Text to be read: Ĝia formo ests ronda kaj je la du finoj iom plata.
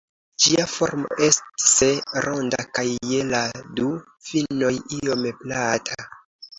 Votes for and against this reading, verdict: 2, 1, accepted